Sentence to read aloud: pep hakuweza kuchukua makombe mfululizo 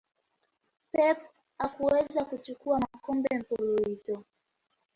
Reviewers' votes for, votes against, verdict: 1, 2, rejected